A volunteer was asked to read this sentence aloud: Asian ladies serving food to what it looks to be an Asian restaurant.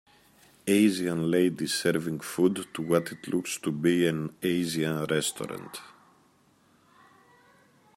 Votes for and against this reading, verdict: 2, 1, accepted